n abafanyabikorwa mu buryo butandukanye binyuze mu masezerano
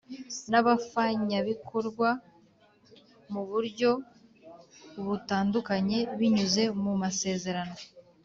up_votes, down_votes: 2, 0